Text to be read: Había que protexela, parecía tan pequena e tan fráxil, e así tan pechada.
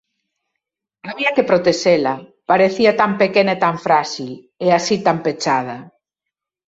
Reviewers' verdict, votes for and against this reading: accepted, 2, 0